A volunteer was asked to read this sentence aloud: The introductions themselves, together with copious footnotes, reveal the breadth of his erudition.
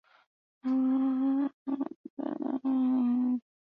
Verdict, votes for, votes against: rejected, 0, 2